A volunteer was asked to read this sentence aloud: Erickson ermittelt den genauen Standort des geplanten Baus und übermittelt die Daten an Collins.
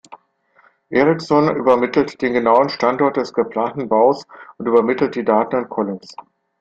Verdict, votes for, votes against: rejected, 0, 2